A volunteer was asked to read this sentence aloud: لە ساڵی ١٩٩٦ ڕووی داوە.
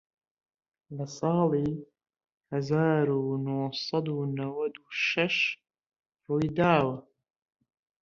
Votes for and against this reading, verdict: 0, 2, rejected